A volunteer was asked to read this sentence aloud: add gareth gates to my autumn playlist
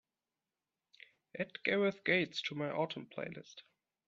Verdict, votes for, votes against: accepted, 3, 0